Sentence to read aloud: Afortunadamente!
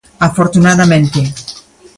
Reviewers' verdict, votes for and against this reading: rejected, 1, 2